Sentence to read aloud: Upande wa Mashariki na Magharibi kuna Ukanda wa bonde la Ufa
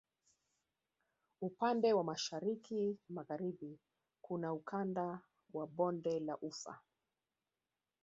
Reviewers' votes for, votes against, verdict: 1, 2, rejected